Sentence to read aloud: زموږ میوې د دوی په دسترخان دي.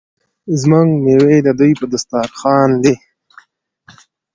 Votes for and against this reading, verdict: 2, 0, accepted